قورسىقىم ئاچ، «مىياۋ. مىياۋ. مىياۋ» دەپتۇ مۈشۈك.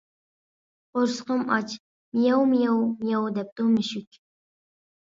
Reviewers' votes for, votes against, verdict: 1, 2, rejected